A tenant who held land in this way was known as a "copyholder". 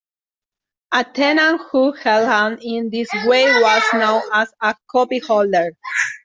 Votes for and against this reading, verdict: 2, 1, accepted